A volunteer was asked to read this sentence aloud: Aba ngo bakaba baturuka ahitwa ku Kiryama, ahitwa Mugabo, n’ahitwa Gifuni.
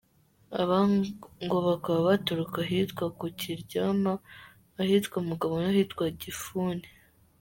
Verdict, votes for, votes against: accepted, 2, 1